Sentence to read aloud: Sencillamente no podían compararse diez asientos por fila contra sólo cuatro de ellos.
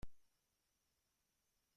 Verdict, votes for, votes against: rejected, 0, 2